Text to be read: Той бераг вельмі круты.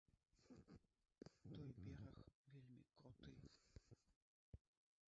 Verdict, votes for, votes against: rejected, 1, 2